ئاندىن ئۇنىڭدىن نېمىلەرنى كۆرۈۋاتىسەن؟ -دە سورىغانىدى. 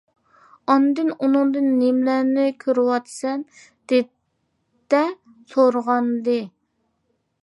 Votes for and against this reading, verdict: 0, 2, rejected